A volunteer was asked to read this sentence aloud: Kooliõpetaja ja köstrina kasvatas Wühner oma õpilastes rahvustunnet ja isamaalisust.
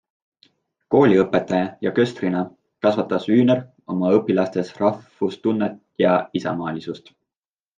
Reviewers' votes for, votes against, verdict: 2, 0, accepted